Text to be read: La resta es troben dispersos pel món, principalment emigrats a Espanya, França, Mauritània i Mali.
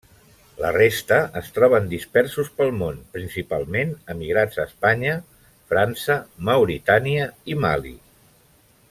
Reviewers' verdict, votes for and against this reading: accepted, 3, 0